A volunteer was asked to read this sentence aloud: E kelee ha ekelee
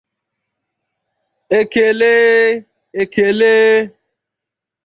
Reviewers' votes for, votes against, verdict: 0, 2, rejected